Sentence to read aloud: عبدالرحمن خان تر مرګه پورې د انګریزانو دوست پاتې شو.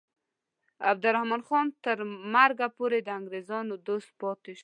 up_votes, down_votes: 2, 0